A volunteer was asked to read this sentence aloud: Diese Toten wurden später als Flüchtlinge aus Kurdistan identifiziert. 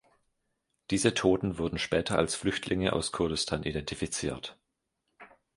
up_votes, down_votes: 2, 0